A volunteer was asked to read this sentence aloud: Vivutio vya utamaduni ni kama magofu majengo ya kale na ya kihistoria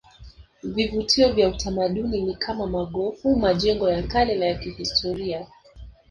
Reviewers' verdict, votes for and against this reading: accepted, 4, 2